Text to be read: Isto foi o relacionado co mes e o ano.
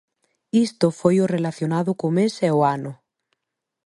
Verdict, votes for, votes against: accepted, 3, 0